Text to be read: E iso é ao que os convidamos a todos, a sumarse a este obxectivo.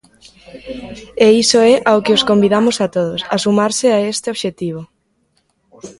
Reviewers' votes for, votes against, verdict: 1, 2, rejected